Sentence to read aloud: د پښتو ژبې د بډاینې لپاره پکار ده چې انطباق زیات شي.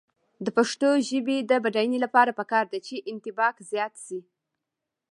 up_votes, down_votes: 0, 2